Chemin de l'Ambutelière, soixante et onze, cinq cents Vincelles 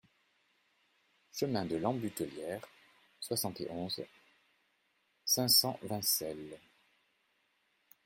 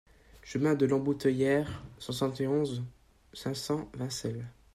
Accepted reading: first